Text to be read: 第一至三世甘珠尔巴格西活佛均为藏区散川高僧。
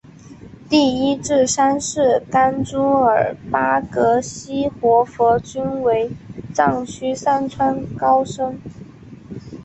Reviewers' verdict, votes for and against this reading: accepted, 6, 1